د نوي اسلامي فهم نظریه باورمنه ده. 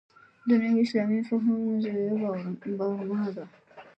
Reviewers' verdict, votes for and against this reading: rejected, 1, 2